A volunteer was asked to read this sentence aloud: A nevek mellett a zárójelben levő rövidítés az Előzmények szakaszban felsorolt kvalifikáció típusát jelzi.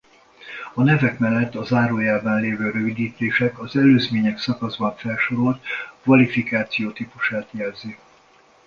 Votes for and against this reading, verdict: 2, 1, accepted